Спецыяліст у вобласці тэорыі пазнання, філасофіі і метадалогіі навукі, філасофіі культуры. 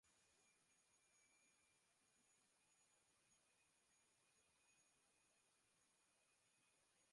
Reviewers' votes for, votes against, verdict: 0, 2, rejected